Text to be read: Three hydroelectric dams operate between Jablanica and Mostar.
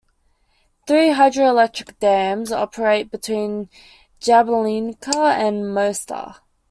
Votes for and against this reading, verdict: 2, 0, accepted